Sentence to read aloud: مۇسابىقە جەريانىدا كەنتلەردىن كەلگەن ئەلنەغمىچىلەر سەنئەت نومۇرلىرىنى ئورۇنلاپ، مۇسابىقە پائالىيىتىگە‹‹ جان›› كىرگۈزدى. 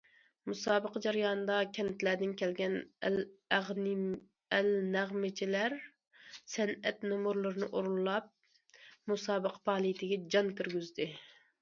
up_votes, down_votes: 0, 2